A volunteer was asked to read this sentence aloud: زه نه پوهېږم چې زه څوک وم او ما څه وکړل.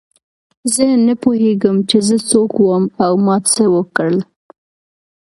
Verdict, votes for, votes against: accepted, 2, 0